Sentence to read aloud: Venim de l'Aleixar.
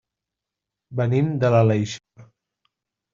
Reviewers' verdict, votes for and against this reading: rejected, 0, 2